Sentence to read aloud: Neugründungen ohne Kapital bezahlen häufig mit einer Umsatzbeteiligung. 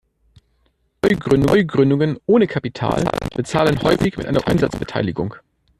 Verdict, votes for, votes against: rejected, 1, 2